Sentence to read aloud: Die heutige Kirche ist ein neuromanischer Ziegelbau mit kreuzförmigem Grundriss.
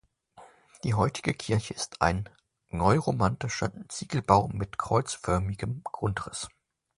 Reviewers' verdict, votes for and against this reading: rejected, 1, 2